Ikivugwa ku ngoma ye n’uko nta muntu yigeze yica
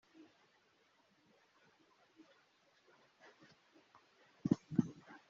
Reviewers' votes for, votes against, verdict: 0, 2, rejected